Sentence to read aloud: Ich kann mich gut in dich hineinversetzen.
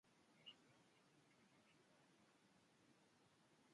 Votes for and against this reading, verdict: 0, 2, rejected